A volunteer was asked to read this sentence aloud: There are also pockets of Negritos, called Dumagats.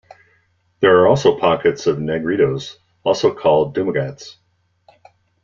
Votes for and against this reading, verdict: 0, 2, rejected